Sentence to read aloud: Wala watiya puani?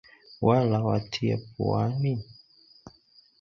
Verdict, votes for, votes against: accepted, 4, 0